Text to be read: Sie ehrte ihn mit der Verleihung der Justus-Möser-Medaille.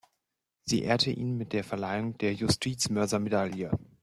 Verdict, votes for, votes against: rejected, 0, 2